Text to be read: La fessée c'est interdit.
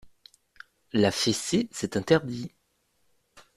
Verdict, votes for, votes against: accepted, 2, 0